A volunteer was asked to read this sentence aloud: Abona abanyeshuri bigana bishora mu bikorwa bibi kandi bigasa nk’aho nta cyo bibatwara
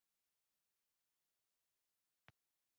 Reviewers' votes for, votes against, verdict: 1, 2, rejected